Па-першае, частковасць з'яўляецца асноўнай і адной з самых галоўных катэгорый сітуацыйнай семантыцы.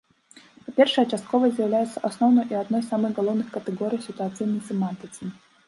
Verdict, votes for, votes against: rejected, 0, 2